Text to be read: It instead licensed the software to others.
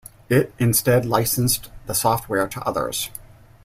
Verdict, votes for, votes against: accepted, 2, 0